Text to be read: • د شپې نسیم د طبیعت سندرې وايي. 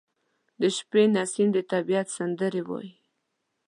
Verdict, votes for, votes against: accepted, 2, 0